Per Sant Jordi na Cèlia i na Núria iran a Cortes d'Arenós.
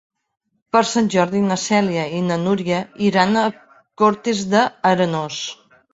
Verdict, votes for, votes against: rejected, 1, 2